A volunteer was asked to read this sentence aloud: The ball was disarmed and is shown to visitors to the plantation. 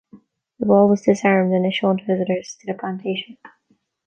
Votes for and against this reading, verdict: 2, 1, accepted